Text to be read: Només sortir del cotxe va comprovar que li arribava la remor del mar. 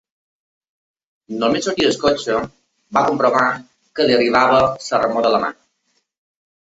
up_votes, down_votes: 2, 0